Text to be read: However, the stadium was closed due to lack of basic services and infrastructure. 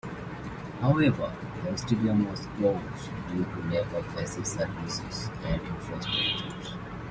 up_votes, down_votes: 0, 2